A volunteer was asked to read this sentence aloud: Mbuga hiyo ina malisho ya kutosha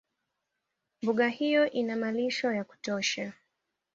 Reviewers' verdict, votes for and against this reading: accepted, 2, 0